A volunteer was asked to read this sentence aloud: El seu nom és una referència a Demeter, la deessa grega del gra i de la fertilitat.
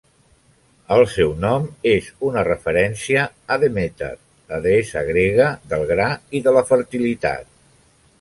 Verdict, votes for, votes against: accepted, 2, 0